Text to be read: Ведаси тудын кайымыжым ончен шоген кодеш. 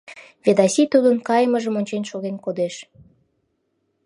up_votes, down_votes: 2, 0